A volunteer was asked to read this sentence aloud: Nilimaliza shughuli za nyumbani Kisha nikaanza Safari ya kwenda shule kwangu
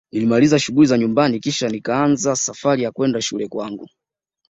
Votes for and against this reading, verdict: 2, 0, accepted